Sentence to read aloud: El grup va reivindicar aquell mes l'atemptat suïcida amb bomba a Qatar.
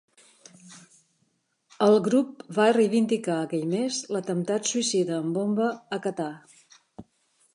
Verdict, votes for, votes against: accepted, 3, 0